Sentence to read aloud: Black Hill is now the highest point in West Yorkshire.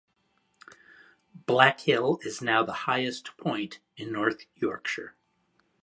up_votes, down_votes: 0, 2